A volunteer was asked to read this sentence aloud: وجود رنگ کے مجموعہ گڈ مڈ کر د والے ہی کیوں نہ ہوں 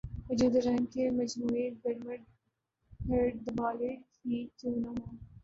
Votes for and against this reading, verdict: 0, 2, rejected